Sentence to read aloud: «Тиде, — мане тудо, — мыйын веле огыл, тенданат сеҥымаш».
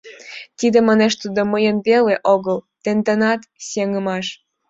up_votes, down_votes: 1, 2